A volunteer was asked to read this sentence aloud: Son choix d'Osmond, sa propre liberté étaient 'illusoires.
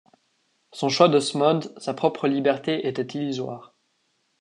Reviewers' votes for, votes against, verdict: 2, 0, accepted